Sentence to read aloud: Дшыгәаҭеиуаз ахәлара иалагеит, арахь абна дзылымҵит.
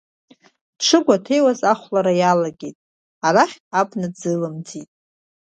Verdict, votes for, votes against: accepted, 3, 0